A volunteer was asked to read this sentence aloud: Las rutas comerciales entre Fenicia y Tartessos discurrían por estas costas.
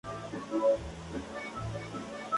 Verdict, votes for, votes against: rejected, 0, 2